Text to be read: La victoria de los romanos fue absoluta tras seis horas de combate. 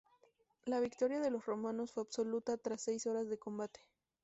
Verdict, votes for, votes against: accepted, 2, 0